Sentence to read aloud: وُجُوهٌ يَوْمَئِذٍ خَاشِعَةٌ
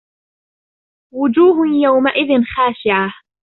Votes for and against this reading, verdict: 2, 1, accepted